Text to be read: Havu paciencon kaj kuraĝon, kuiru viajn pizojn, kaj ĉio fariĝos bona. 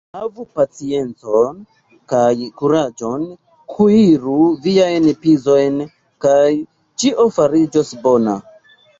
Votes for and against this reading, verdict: 1, 2, rejected